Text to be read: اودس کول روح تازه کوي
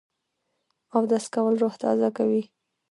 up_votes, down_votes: 0, 2